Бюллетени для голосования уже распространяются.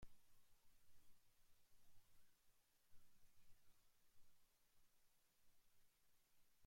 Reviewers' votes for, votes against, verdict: 0, 2, rejected